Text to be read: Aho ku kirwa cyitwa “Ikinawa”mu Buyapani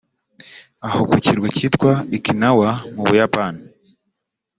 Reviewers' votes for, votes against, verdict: 2, 0, accepted